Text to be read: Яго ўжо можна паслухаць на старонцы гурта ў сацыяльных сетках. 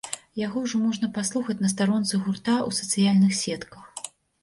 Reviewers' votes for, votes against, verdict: 2, 0, accepted